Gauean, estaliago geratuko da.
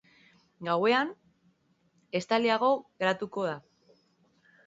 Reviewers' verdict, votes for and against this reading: accepted, 2, 0